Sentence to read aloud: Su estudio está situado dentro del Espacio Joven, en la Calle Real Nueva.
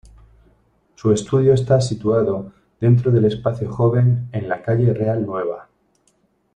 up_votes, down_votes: 2, 0